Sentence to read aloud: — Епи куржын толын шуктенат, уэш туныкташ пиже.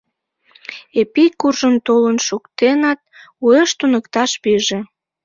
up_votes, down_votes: 0, 2